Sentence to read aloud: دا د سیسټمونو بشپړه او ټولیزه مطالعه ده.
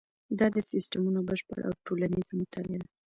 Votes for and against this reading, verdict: 3, 0, accepted